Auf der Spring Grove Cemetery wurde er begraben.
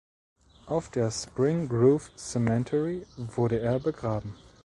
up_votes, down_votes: 1, 2